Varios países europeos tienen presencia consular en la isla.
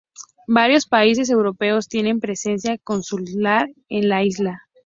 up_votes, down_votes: 2, 0